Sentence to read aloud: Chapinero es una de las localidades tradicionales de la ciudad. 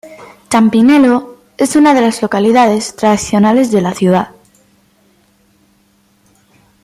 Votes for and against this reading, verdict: 0, 2, rejected